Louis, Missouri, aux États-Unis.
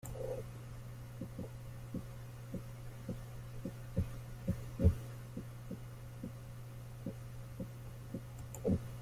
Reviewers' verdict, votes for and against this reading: rejected, 0, 2